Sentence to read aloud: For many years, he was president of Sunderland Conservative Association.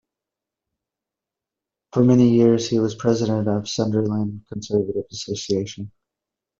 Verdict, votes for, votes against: accepted, 2, 1